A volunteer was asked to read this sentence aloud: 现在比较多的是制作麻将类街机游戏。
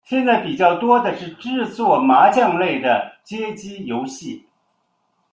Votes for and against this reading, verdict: 0, 2, rejected